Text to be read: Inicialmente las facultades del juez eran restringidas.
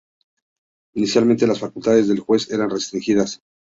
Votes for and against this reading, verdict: 2, 0, accepted